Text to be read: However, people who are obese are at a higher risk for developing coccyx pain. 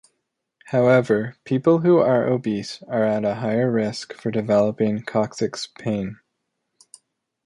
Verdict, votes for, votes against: accepted, 2, 1